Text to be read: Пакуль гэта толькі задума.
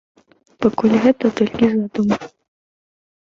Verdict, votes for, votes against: accepted, 2, 1